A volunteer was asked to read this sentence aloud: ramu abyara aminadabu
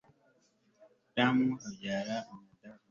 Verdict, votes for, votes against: rejected, 1, 2